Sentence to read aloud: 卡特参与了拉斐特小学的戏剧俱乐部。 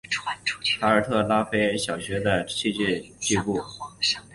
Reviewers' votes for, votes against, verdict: 0, 3, rejected